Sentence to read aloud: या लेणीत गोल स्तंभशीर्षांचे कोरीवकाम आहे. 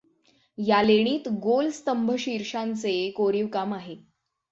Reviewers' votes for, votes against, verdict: 6, 0, accepted